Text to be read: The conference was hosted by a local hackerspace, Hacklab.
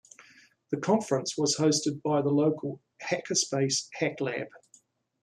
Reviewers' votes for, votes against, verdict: 1, 2, rejected